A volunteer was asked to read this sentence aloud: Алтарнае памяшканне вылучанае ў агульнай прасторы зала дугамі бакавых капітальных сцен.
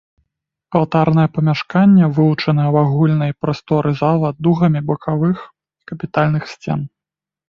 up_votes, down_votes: 3, 0